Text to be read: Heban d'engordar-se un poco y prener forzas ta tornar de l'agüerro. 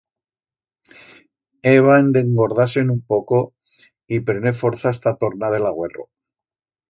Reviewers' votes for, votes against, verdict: 1, 2, rejected